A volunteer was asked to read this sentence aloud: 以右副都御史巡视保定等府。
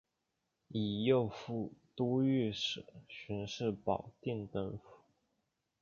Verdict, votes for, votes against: rejected, 0, 2